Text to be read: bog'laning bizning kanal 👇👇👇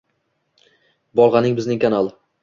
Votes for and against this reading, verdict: 0, 2, rejected